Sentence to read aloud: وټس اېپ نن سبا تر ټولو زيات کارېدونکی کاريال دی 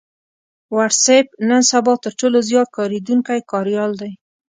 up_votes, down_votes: 2, 0